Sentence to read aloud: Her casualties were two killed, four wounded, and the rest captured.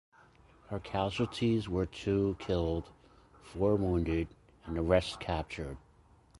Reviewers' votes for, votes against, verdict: 2, 0, accepted